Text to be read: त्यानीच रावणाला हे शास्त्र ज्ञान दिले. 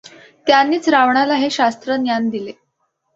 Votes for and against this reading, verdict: 2, 0, accepted